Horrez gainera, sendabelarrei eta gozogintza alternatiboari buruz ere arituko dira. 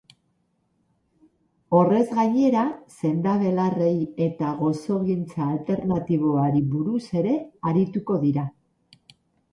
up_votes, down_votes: 0, 4